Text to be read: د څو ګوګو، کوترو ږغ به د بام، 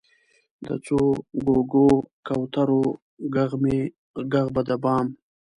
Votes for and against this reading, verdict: 1, 2, rejected